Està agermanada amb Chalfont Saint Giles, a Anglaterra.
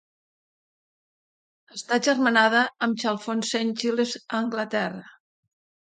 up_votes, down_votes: 2, 0